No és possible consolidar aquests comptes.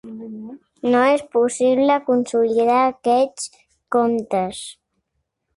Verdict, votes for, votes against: accepted, 2, 0